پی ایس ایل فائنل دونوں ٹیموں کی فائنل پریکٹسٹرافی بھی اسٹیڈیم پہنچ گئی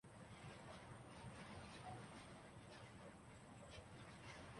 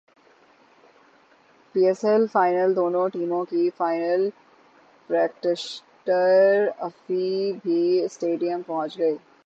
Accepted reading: second